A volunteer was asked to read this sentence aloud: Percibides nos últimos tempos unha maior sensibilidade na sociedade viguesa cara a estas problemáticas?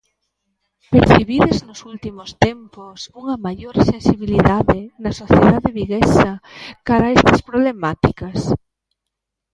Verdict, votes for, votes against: rejected, 1, 2